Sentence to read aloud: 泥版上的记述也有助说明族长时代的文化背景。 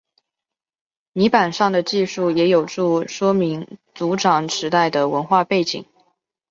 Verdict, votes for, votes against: accepted, 2, 0